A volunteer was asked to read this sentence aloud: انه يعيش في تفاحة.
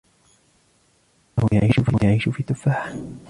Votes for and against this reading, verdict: 1, 2, rejected